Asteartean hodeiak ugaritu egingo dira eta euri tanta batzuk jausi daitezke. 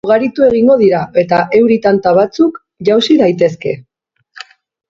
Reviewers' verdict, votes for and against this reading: rejected, 0, 2